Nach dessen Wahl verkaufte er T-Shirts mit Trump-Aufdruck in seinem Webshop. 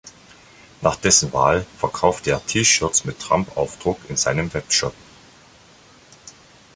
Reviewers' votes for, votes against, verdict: 2, 0, accepted